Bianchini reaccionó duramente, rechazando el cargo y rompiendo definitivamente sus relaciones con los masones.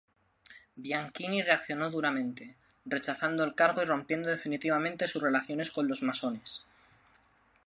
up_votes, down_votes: 2, 0